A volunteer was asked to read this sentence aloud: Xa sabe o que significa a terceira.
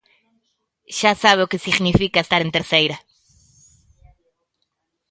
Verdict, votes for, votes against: rejected, 0, 2